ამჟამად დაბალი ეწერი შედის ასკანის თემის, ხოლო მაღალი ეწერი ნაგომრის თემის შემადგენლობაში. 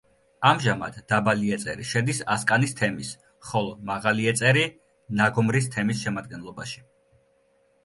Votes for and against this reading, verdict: 2, 0, accepted